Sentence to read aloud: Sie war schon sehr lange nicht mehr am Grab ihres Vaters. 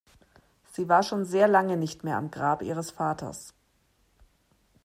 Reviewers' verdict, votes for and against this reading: accepted, 2, 0